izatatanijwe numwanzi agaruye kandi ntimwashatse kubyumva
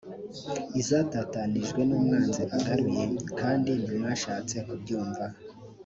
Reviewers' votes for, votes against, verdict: 1, 2, rejected